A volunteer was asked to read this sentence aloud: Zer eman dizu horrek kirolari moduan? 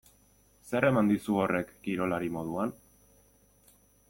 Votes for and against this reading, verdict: 2, 0, accepted